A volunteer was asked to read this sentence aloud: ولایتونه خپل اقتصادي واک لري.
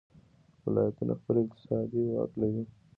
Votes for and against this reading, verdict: 1, 2, rejected